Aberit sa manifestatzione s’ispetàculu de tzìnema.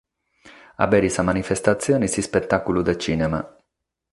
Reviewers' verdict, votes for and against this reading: accepted, 6, 0